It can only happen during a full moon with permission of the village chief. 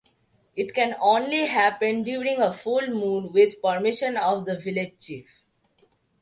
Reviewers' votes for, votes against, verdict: 2, 0, accepted